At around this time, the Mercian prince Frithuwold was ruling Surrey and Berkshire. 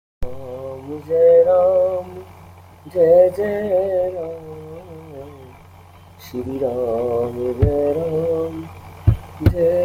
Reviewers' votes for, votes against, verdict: 0, 2, rejected